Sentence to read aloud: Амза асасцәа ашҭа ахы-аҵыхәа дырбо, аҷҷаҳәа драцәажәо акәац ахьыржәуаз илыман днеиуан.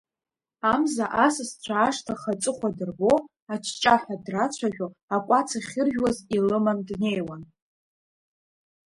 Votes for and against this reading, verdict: 1, 2, rejected